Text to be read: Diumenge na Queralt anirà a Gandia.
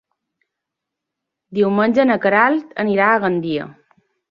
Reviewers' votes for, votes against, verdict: 3, 0, accepted